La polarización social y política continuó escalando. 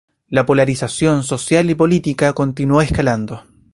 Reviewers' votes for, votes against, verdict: 2, 0, accepted